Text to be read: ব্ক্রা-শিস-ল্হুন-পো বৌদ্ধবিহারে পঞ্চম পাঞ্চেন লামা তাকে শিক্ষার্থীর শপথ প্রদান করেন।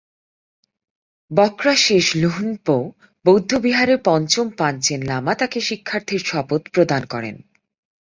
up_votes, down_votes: 9, 1